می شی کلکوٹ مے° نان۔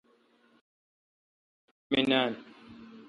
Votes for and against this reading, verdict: 1, 2, rejected